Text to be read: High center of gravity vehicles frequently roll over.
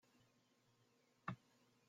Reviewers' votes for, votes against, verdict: 0, 2, rejected